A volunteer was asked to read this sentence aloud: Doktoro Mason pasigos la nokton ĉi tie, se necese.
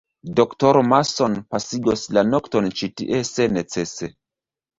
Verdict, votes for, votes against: rejected, 0, 2